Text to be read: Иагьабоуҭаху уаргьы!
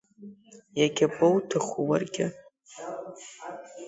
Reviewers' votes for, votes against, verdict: 2, 0, accepted